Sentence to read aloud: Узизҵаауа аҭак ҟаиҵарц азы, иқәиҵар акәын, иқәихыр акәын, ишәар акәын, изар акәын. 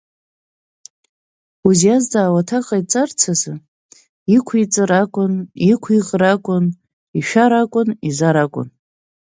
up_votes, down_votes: 5, 0